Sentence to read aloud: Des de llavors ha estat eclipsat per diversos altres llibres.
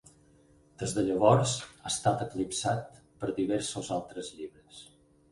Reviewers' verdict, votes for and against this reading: accepted, 6, 2